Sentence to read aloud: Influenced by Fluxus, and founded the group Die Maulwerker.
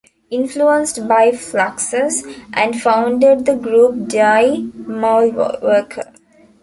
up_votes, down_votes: 1, 2